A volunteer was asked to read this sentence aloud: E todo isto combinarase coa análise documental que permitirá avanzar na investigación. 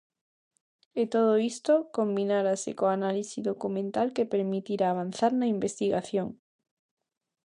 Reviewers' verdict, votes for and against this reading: rejected, 0, 2